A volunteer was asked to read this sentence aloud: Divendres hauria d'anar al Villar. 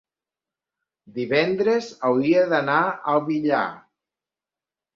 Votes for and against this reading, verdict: 4, 0, accepted